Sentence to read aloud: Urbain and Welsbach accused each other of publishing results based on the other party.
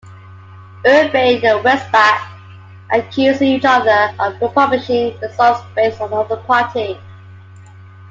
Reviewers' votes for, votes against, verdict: 2, 1, accepted